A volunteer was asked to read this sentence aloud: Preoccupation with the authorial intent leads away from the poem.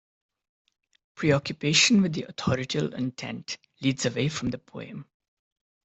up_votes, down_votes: 1, 2